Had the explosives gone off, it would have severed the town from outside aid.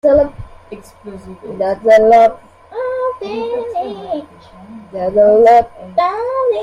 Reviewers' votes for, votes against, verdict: 0, 2, rejected